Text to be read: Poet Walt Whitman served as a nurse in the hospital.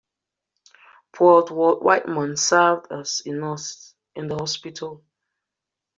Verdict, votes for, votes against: rejected, 1, 2